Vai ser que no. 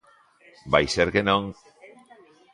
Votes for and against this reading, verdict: 0, 2, rejected